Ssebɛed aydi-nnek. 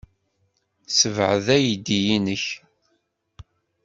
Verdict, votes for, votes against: rejected, 1, 2